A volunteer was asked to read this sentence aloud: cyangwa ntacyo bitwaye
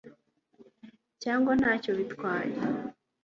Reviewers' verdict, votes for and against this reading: accepted, 2, 0